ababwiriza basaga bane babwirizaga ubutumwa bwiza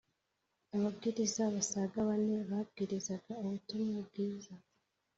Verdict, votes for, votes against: accepted, 2, 0